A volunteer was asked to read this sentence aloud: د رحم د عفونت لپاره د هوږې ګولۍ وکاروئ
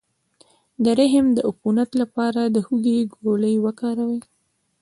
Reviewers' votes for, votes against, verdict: 1, 2, rejected